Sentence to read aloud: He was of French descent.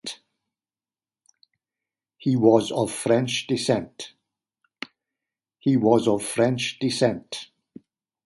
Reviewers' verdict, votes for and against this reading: rejected, 1, 2